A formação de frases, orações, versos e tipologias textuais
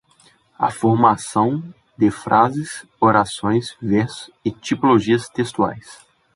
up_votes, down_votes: 0, 2